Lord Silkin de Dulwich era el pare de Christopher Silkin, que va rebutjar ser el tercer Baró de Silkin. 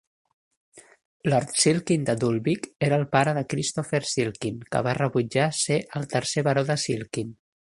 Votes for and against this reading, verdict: 0, 2, rejected